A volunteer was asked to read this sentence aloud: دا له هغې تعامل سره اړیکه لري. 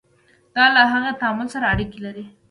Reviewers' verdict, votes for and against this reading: accepted, 2, 0